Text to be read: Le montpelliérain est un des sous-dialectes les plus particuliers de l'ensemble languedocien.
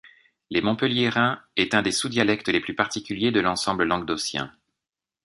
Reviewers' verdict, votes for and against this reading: rejected, 1, 2